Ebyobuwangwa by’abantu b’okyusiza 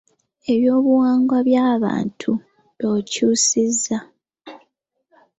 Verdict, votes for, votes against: accepted, 2, 0